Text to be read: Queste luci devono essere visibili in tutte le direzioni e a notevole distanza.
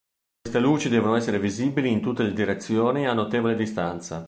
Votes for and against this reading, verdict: 0, 2, rejected